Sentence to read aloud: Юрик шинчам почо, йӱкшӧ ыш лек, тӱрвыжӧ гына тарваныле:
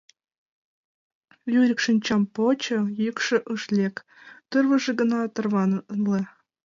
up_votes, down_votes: 0, 2